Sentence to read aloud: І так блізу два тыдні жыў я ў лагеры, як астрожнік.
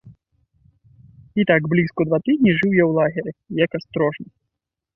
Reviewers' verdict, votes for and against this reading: rejected, 0, 2